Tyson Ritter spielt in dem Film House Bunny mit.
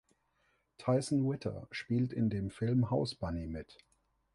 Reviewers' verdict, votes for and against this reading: accepted, 2, 0